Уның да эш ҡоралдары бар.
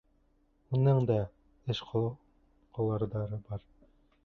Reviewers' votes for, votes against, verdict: 1, 2, rejected